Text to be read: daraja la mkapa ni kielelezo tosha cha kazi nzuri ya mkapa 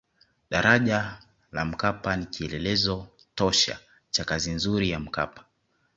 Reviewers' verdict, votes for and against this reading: accepted, 2, 0